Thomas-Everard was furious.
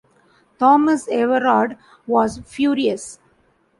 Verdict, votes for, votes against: accepted, 2, 0